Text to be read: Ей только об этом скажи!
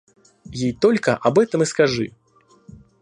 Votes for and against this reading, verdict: 1, 2, rejected